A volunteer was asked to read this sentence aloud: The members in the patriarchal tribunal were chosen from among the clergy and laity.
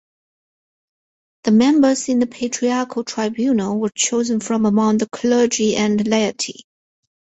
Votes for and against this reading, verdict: 4, 0, accepted